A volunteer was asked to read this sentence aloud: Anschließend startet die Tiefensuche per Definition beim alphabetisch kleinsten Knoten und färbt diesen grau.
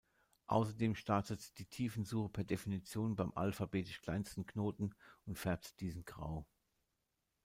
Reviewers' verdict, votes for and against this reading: rejected, 0, 2